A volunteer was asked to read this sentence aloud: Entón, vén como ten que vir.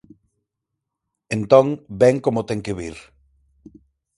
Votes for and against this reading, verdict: 4, 0, accepted